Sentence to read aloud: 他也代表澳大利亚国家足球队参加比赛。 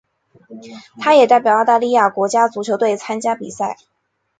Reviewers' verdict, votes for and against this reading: accepted, 4, 0